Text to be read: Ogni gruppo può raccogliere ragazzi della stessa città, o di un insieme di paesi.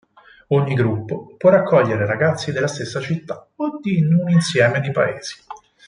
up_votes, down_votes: 4, 2